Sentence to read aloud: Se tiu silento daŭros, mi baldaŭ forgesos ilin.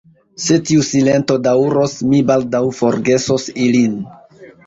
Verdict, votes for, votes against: rejected, 0, 2